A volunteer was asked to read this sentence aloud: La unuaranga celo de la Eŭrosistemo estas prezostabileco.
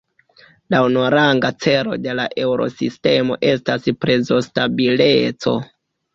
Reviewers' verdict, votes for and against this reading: accepted, 2, 1